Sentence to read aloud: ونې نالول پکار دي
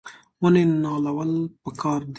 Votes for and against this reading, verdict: 2, 0, accepted